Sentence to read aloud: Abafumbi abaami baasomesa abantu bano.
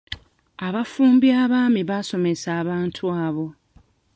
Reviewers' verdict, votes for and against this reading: rejected, 0, 2